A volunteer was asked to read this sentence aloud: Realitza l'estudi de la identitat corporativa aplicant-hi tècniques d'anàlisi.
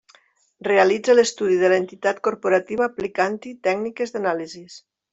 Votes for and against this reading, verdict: 1, 2, rejected